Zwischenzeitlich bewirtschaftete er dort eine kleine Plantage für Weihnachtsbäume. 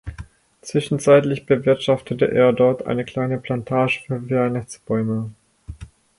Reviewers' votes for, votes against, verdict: 2, 4, rejected